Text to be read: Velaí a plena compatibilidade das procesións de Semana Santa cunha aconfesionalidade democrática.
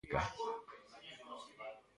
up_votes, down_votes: 0, 2